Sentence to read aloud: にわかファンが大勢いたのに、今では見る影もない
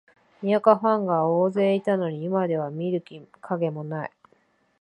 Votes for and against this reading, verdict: 2, 0, accepted